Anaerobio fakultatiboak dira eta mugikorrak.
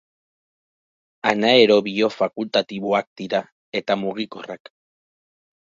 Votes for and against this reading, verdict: 2, 2, rejected